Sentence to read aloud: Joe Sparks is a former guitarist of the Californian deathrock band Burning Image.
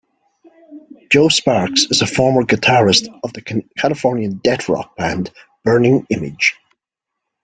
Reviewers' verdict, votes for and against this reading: rejected, 1, 2